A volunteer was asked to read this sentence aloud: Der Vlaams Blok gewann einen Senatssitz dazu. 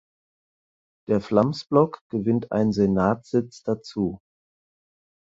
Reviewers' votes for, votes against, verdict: 2, 4, rejected